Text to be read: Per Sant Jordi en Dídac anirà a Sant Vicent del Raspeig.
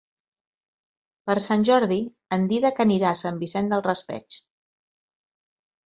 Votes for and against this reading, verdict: 4, 0, accepted